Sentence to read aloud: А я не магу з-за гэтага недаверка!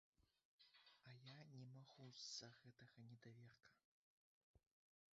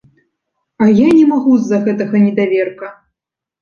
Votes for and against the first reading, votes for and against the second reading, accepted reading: 0, 3, 2, 0, second